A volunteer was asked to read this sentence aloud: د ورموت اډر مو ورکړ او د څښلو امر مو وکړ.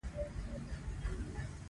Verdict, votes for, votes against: rejected, 0, 2